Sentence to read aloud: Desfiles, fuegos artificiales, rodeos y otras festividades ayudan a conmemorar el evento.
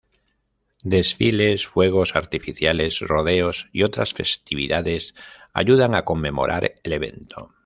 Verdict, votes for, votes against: rejected, 1, 2